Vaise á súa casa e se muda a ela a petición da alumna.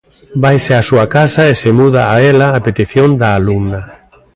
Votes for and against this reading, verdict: 1, 2, rejected